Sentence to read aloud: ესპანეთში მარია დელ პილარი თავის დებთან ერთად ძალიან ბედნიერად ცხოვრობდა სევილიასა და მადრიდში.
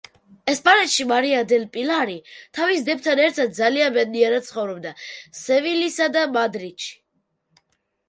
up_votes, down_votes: 0, 2